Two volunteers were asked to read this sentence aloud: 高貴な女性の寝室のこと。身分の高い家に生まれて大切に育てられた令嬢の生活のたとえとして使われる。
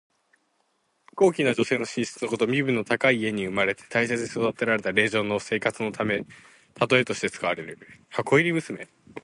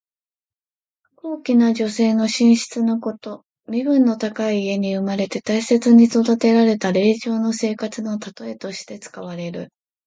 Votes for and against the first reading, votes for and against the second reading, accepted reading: 0, 4, 2, 0, second